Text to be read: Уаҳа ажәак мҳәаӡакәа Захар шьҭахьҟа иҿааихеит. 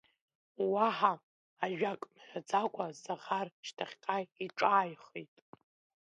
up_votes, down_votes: 2, 0